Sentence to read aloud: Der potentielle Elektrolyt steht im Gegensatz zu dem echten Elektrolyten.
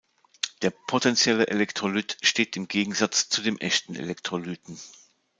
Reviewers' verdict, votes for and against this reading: accepted, 2, 0